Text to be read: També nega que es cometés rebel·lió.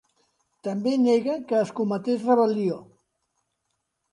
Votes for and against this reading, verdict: 2, 0, accepted